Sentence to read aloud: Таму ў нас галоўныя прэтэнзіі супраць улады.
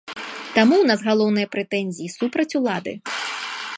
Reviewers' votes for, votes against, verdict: 2, 1, accepted